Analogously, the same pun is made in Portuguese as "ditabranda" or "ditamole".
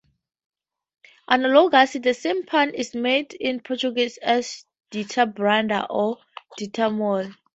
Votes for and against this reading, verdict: 0, 4, rejected